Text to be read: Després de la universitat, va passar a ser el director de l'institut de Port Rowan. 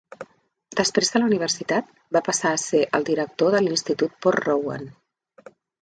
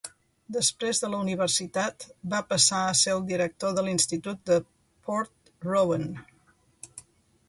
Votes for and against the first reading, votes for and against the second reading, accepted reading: 2, 3, 3, 0, second